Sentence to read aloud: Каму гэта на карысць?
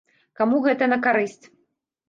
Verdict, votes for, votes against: accepted, 2, 0